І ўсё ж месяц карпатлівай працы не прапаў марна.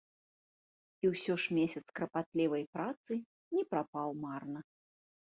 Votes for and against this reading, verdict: 2, 0, accepted